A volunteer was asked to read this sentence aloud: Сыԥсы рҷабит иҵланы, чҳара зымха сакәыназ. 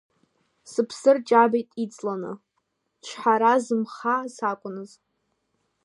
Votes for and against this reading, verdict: 0, 2, rejected